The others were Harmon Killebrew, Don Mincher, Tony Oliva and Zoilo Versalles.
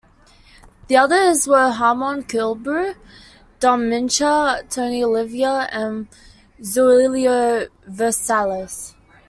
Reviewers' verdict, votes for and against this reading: rejected, 1, 2